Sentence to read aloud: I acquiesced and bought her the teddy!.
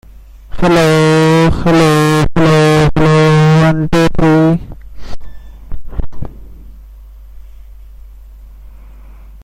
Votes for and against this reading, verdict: 0, 2, rejected